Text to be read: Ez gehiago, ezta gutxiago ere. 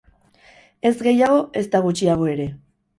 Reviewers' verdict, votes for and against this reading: accepted, 4, 0